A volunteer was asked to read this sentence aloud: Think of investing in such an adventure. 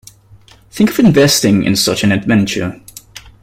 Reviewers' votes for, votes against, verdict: 2, 0, accepted